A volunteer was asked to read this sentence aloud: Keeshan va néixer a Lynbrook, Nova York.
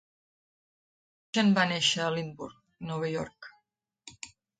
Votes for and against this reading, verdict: 0, 2, rejected